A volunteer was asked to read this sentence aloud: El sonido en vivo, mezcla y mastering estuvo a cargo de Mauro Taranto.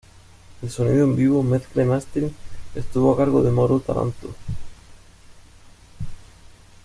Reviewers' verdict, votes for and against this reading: rejected, 0, 2